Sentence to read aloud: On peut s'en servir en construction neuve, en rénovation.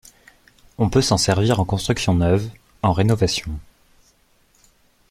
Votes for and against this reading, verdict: 2, 0, accepted